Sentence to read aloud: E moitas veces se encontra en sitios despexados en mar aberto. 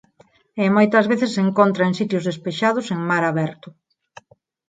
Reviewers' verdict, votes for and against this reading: accepted, 4, 0